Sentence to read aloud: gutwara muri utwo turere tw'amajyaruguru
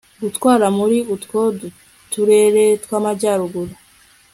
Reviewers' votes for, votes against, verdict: 0, 2, rejected